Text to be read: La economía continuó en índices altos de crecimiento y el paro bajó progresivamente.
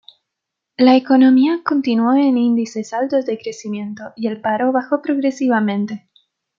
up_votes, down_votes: 2, 0